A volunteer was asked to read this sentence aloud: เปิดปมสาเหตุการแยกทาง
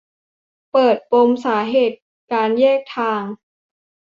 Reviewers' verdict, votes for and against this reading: accepted, 2, 0